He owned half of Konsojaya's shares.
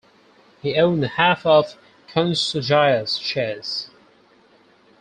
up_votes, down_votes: 4, 0